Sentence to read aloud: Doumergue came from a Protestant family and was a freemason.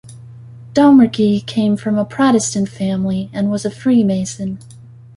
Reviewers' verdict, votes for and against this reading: rejected, 0, 2